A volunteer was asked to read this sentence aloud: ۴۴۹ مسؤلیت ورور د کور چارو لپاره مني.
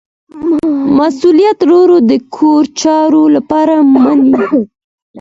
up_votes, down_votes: 0, 2